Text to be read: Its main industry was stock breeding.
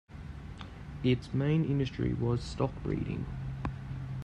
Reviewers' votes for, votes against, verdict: 2, 0, accepted